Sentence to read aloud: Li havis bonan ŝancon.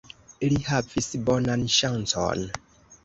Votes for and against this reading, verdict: 1, 2, rejected